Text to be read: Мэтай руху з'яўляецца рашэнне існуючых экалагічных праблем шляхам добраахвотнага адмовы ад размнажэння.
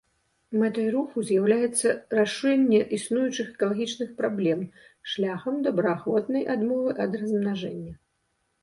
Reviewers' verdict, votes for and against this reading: rejected, 0, 2